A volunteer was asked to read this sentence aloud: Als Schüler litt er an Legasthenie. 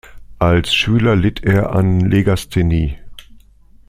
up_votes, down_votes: 2, 0